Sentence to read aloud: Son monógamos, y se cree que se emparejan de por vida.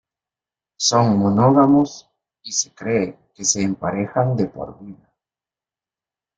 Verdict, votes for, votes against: accepted, 2, 0